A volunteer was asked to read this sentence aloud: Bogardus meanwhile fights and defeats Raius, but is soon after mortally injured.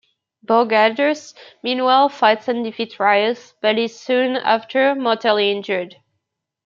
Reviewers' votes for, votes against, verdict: 1, 2, rejected